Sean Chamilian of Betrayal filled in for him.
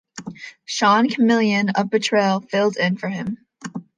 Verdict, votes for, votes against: accepted, 2, 0